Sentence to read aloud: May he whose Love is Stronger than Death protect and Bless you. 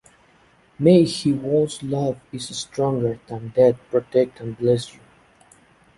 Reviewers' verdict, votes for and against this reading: accepted, 2, 1